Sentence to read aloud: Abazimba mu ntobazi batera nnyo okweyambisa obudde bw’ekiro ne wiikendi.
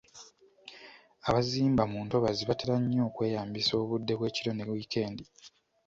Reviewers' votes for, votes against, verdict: 1, 2, rejected